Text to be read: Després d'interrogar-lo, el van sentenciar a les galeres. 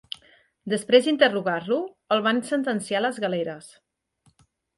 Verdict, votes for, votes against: accepted, 2, 0